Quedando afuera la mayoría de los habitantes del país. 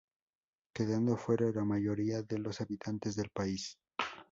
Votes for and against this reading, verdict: 2, 0, accepted